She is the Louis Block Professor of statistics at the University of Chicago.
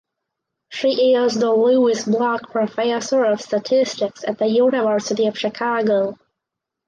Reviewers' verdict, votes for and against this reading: accepted, 2, 0